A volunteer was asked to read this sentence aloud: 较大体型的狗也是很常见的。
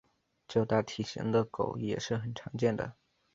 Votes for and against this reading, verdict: 2, 0, accepted